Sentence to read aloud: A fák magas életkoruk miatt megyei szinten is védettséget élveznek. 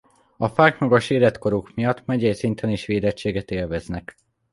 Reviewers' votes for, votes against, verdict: 2, 0, accepted